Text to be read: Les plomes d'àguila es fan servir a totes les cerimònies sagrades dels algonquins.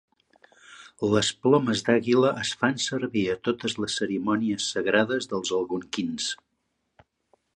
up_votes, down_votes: 1, 2